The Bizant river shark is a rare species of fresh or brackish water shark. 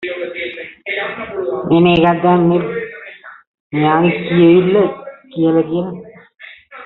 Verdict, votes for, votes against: rejected, 0, 2